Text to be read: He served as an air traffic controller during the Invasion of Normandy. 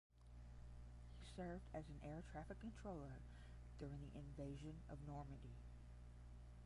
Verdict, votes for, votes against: rejected, 0, 10